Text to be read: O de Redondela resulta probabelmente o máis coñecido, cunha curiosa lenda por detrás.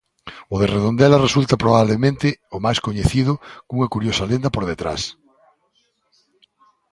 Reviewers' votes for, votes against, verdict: 1, 2, rejected